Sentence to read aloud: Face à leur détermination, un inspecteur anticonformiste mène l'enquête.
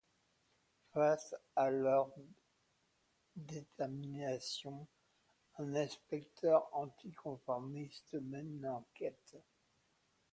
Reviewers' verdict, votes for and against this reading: rejected, 0, 2